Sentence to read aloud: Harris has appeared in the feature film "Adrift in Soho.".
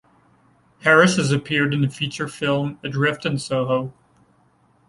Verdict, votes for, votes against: accepted, 2, 0